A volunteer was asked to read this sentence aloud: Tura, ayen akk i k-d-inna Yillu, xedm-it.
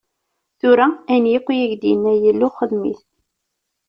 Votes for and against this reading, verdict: 2, 0, accepted